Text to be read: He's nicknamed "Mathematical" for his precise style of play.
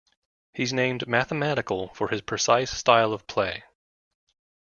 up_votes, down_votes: 0, 2